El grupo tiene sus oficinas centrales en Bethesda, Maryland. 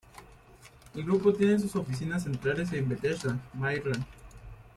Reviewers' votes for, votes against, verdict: 3, 0, accepted